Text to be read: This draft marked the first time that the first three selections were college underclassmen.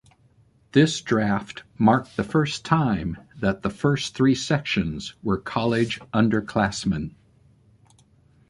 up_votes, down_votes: 1, 2